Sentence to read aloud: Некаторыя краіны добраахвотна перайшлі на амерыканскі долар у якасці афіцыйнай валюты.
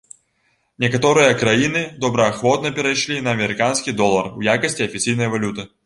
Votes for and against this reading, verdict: 2, 0, accepted